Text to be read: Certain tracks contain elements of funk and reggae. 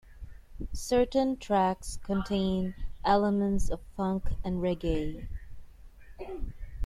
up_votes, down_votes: 2, 0